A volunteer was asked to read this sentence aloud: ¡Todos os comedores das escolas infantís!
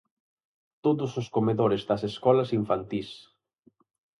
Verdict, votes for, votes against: accepted, 4, 0